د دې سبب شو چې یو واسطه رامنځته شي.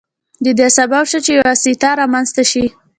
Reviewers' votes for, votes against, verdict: 2, 0, accepted